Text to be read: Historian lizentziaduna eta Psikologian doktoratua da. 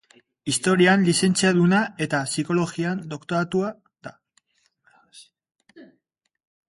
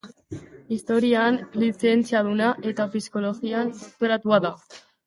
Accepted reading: first